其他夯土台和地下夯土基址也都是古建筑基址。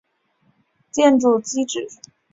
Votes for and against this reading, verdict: 3, 2, accepted